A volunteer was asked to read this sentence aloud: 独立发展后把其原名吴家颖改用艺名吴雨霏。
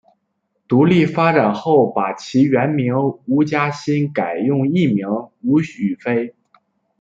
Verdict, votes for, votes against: rejected, 1, 2